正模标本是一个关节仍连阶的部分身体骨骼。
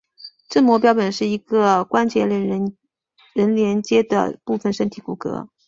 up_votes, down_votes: 2, 1